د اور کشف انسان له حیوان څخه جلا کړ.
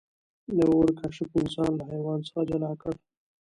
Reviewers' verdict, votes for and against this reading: accepted, 2, 0